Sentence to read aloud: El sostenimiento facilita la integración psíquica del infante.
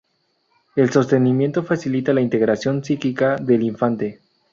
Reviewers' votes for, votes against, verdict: 2, 0, accepted